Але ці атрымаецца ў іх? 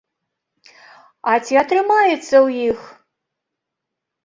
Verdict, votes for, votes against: rejected, 0, 3